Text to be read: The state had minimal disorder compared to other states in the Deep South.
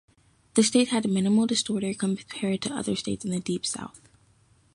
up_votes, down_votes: 1, 2